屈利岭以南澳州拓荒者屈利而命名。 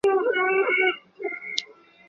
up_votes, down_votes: 0, 2